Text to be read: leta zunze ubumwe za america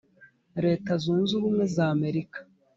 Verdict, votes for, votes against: accepted, 2, 0